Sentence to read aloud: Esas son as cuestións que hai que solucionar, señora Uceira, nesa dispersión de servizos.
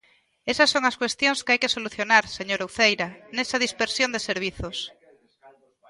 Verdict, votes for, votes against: rejected, 0, 2